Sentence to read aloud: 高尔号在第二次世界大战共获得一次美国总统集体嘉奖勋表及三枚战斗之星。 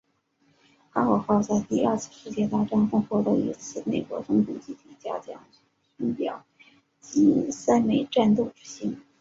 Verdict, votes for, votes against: accepted, 4, 0